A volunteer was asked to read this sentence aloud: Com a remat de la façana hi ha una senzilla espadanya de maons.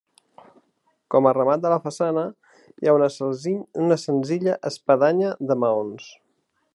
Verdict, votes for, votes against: rejected, 0, 2